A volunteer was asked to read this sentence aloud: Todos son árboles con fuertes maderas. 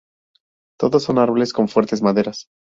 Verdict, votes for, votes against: accepted, 2, 0